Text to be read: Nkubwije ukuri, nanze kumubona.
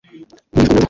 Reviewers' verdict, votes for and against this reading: rejected, 1, 2